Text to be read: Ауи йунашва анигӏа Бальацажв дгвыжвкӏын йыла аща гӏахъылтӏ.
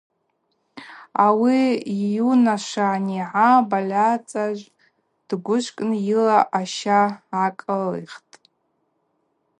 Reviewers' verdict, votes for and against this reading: rejected, 0, 2